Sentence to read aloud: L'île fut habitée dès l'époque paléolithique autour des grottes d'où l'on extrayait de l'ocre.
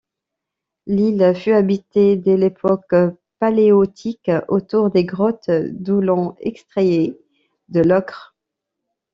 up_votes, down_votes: 0, 2